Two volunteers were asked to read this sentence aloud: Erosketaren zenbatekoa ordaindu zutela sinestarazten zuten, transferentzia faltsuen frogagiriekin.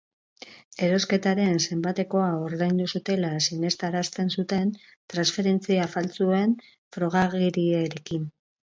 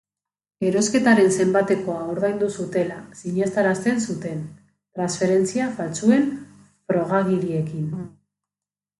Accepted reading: first